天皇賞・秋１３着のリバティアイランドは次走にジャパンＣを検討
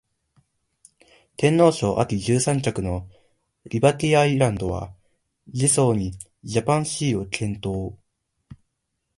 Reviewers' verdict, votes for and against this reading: rejected, 0, 2